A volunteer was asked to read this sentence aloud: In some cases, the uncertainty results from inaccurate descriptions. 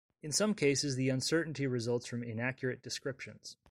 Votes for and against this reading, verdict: 2, 0, accepted